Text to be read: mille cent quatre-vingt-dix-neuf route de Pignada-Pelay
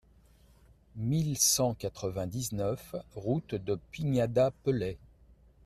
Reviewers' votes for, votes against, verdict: 2, 0, accepted